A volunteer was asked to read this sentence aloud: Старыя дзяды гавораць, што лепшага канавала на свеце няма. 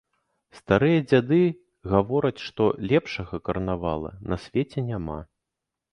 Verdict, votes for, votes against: rejected, 1, 3